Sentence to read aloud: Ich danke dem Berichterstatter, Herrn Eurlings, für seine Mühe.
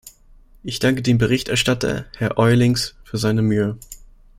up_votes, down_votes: 1, 2